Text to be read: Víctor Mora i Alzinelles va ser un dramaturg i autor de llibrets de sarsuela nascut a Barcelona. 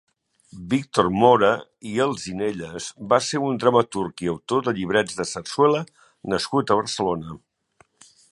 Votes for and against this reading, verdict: 4, 0, accepted